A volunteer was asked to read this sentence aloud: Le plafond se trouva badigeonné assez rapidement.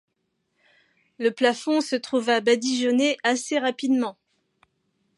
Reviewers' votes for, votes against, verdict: 2, 0, accepted